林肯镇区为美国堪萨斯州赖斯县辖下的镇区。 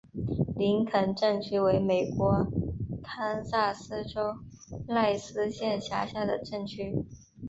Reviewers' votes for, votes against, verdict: 2, 0, accepted